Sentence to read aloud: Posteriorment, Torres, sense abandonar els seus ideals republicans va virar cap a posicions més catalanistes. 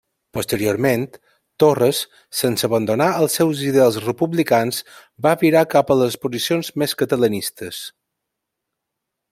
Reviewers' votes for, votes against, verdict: 1, 2, rejected